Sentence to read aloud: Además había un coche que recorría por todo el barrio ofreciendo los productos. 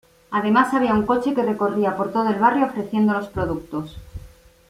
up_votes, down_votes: 2, 0